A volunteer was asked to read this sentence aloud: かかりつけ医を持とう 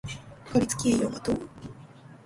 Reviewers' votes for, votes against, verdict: 0, 2, rejected